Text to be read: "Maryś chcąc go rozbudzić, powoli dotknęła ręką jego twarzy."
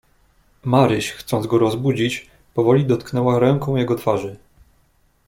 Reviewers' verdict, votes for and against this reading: accepted, 2, 0